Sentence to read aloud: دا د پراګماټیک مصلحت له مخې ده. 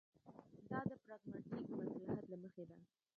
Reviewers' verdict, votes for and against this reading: accepted, 2, 1